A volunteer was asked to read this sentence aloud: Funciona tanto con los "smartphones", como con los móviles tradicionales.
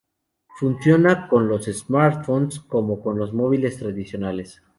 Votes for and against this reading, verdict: 0, 2, rejected